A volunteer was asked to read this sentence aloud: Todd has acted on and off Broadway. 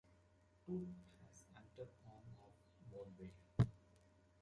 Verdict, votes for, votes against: rejected, 0, 2